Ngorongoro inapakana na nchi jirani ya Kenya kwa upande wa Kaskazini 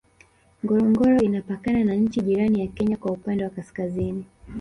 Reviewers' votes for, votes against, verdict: 2, 1, accepted